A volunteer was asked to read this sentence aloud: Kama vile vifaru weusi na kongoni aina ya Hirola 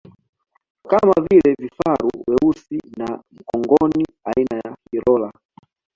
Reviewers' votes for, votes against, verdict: 2, 0, accepted